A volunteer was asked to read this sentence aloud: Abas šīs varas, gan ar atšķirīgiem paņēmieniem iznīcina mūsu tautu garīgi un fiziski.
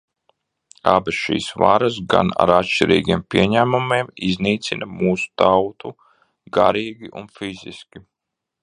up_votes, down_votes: 0, 2